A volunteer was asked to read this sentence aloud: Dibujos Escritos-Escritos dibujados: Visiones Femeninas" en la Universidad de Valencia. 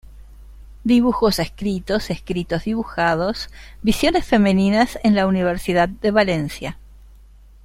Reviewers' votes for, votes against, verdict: 2, 0, accepted